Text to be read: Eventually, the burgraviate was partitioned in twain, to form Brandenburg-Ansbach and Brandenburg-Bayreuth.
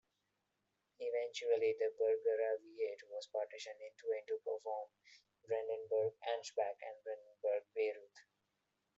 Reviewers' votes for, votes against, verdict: 2, 1, accepted